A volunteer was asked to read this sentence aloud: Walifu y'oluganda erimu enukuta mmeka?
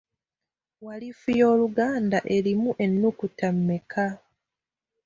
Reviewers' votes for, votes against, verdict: 2, 0, accepted